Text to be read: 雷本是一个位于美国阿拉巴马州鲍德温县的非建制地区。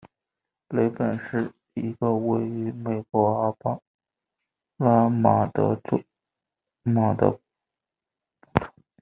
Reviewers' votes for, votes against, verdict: 0, 2, rejected